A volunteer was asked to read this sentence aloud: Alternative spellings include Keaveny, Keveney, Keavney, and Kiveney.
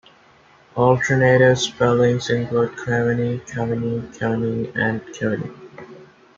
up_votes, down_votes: 2, 0